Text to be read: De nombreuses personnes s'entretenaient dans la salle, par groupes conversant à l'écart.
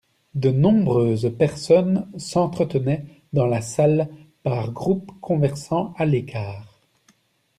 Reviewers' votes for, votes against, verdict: 2, 0, accepted